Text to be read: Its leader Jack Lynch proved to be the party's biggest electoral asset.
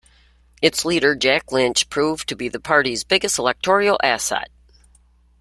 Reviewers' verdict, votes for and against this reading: rejected, 1, 2